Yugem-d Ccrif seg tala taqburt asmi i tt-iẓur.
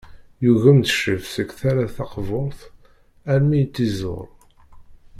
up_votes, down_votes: 1, 2